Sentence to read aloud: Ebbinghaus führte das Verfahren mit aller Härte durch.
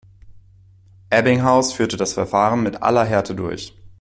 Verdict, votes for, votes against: accepted, 2, 1